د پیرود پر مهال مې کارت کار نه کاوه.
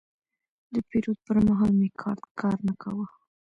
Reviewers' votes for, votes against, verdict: 2, 0, accepted